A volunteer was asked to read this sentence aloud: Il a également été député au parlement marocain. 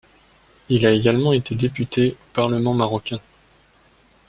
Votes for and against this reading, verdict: 1, 2, rejected